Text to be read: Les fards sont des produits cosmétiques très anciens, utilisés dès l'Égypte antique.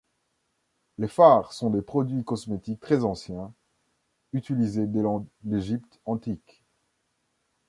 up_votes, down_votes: 1, 2